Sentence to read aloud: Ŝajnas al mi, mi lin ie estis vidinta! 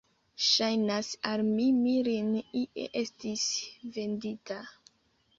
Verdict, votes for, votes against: rejected, 0, 2